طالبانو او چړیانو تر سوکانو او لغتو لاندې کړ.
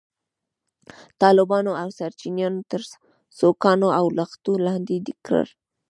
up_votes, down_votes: 1, 2